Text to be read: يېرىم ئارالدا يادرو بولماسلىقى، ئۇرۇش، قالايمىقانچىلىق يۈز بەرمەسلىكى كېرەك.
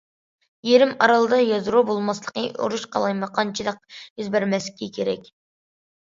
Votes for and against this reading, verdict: 2, 0, accepted